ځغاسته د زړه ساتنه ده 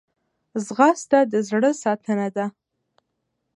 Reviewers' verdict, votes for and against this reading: accepted, 2, 0